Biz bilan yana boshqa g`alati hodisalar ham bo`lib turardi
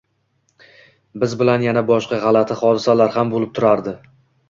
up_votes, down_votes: 2, 0